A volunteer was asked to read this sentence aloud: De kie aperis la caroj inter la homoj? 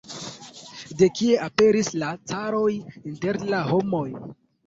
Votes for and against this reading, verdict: 2, 0, accepted